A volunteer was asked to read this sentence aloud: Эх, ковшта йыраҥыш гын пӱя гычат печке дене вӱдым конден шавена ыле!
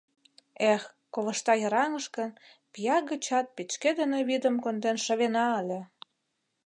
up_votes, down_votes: 1, 2